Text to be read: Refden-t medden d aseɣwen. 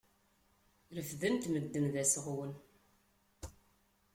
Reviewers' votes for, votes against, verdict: 2, 0, accepted